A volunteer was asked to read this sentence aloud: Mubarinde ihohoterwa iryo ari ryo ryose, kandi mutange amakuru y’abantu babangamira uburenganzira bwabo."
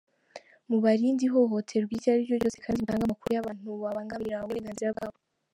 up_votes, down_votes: 0, 2